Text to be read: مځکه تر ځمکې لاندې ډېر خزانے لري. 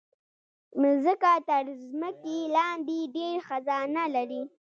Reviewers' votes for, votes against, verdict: 1, 2, rejected